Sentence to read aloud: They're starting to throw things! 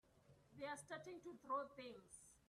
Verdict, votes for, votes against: rejected, 1, 2